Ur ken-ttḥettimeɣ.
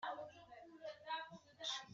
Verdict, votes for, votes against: rejected, 1, 2